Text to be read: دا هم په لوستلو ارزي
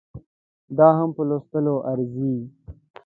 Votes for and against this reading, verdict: 3, 0, accepted